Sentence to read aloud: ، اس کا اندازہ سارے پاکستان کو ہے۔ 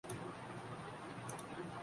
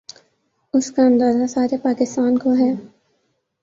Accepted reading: second